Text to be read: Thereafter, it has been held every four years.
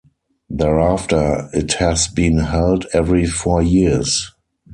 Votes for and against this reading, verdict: 0, 4, rejected